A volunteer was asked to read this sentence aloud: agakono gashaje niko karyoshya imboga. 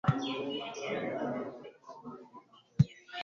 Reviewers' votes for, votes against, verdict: 0, 2, rejected